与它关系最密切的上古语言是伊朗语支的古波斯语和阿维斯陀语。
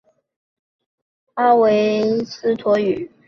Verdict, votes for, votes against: rejected, 0, 2